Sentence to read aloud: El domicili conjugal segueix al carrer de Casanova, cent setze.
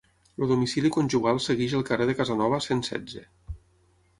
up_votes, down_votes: 0, 6